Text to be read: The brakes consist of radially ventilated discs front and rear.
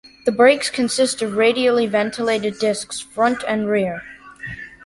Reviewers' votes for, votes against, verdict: 2, 0, accepted